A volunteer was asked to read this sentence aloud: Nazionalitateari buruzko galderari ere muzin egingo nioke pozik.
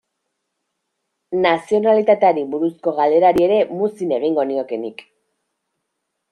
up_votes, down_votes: 1, 2